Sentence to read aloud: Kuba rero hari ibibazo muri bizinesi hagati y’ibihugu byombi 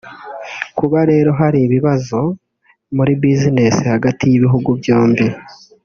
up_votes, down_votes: 1, 2